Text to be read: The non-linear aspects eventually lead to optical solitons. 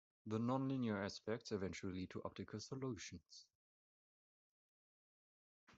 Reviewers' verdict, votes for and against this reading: rejected, 0, 2